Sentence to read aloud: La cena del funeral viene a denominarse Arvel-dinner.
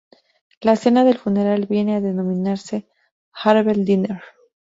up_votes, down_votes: 2, 2